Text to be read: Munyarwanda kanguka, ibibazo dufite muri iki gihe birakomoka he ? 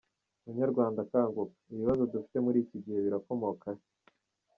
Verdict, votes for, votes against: rejected, 1, 2